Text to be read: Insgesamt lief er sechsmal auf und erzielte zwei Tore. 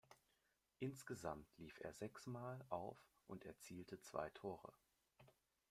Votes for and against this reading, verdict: 1, 2, rejected